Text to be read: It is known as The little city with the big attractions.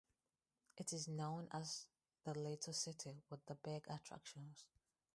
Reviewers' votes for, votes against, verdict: 0, 2, rejected